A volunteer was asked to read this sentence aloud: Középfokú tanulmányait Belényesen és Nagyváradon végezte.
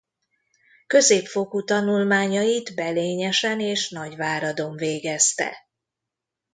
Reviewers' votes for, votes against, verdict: 2, 0, accepted